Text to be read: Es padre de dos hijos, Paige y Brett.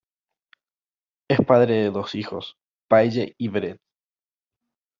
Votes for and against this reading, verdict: 2, 0, accepted